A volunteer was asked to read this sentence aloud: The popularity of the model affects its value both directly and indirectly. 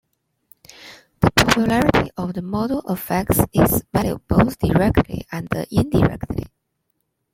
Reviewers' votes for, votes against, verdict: 2, 0, accepted